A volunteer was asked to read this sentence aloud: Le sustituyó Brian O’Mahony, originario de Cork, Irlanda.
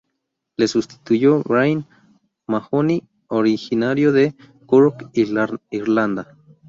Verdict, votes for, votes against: rejected, 2, 2